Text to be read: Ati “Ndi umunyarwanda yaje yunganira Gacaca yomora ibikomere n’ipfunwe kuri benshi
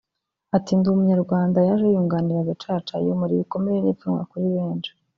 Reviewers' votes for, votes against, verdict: 1, 2, rejected